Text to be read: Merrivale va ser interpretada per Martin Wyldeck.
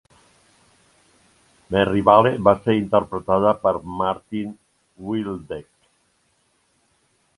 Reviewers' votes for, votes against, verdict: 1, 2, rejected